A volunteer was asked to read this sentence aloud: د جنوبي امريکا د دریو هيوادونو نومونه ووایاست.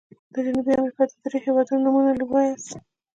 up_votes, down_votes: 3, 0